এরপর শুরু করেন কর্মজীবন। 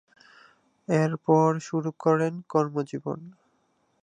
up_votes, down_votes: 2, 0